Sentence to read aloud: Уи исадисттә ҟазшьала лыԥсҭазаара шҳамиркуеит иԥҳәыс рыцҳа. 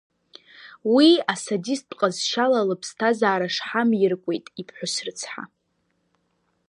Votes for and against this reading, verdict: 1, 2, rejected